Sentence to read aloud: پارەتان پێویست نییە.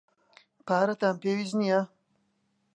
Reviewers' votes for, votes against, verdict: 2, 0, accepted